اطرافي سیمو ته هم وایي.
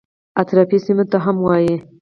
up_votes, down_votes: 4, 0